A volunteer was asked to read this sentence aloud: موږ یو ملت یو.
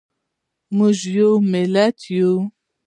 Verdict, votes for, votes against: accepted, 2, 1